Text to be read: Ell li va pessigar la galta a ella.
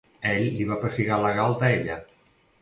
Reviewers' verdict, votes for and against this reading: accepted, 2, 0